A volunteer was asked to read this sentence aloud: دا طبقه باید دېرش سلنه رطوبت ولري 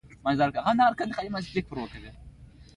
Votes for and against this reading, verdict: 2, 1, accepted